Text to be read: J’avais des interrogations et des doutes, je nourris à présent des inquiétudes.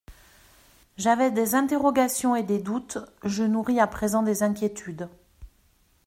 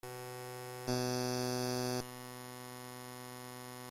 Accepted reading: first